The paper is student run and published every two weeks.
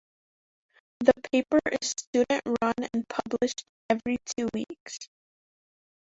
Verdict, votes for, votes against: rejected, 0, 2